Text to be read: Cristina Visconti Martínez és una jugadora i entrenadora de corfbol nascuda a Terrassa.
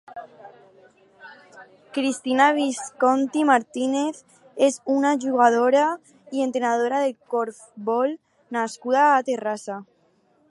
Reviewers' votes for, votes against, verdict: 4, 0, accepted